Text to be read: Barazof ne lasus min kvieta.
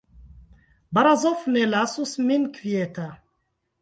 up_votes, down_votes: 1, 2